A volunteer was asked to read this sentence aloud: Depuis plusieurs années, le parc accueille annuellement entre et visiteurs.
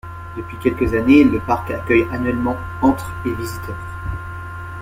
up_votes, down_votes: 0, 2